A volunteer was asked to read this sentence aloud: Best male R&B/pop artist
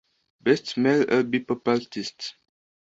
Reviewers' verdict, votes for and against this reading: rejected, 1, 2